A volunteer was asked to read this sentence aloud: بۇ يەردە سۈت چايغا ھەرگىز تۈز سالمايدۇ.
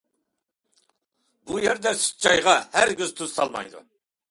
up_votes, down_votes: 2, 0